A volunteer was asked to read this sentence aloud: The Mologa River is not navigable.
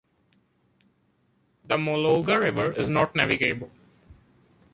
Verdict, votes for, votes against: accepted, 2, 1